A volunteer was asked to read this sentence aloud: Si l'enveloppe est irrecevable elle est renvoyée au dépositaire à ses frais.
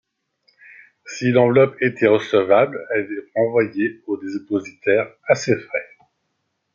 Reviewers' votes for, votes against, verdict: 1, 2, rejected